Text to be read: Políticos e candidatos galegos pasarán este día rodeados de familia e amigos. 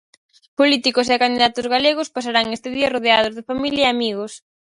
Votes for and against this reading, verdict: 4, 0, accepted